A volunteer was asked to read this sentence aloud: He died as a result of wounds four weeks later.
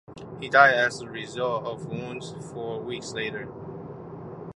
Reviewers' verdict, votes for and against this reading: accepted, 2, 0